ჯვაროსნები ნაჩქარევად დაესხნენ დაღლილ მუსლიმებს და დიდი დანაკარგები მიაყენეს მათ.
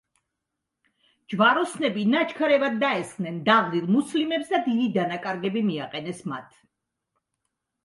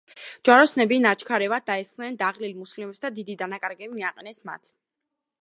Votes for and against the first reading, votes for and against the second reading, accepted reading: 2, 0, 1, 2, first